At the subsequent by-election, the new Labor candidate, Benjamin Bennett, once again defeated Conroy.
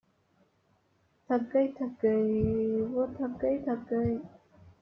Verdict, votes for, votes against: rejected, 0, 2